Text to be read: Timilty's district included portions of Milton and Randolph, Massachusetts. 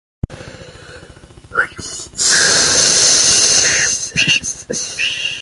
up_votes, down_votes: 0, 2